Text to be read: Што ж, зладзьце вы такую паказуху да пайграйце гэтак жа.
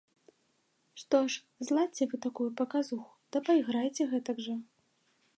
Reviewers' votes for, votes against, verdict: 2, 0, accepted